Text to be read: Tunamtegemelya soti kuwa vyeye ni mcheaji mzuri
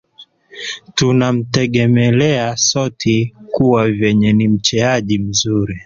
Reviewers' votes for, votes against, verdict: 0, 2, rejected